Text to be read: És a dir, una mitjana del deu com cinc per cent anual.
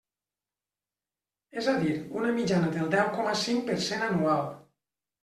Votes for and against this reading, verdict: 2, 0, accepted